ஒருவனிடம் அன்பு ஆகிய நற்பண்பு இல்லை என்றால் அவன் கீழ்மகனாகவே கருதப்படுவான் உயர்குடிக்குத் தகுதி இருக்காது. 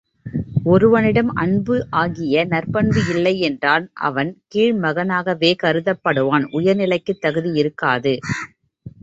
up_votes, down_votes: 0, 2